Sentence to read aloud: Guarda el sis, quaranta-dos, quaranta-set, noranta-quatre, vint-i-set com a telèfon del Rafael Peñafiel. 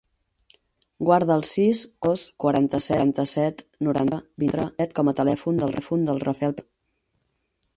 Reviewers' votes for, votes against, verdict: 0, 6, rejected